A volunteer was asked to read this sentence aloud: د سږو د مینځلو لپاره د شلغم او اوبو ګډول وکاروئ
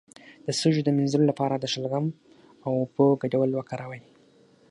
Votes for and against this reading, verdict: 6, 0, accepted